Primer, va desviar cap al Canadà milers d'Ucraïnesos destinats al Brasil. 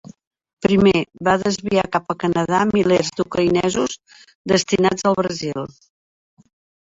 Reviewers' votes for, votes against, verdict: 1, 2, rejected